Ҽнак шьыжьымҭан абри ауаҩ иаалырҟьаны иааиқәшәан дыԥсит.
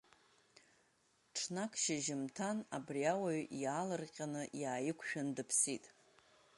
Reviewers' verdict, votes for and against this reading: accepted, 2, 0